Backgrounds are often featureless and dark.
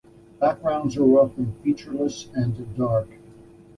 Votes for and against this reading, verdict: 2, 0, accepted